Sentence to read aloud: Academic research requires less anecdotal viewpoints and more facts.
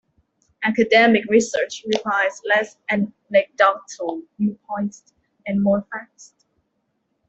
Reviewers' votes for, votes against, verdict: 0, 2, rejected